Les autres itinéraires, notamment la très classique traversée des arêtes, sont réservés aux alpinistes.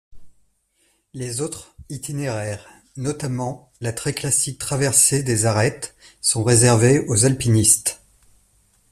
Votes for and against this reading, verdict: 2, 0, accepted